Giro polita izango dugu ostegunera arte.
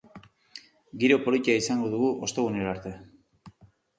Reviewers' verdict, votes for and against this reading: rejected, 0, 2